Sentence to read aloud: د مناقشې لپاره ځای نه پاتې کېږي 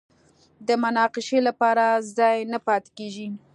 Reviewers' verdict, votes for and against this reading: accepted, 3, 0